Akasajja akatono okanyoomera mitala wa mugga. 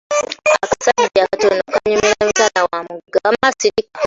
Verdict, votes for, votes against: rejected, 0, 2